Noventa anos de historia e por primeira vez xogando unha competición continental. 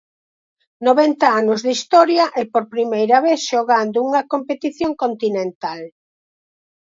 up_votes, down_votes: 4, 0